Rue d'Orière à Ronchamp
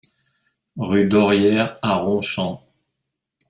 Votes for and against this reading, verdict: 2, 0, accepted